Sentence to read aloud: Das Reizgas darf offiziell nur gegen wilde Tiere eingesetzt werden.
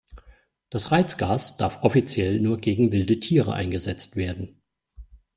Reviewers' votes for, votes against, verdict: 2, 0, accepted